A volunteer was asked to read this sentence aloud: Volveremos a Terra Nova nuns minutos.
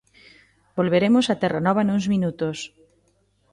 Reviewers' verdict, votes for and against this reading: accepted, 2, 0